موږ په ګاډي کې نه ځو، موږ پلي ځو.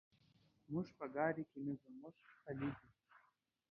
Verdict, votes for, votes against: rejected, 0, 2